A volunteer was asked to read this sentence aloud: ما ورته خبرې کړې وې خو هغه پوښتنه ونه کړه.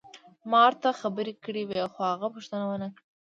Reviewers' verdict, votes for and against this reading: rejected, 1, 2